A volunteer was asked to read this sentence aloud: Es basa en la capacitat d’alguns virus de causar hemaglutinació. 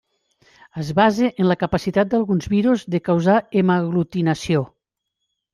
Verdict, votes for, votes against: accepted, 2, 0